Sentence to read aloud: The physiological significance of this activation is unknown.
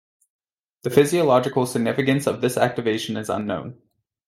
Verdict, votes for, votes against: accepted, 2, 0